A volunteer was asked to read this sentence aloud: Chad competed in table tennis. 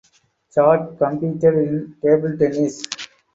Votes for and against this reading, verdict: 4, 0, accepted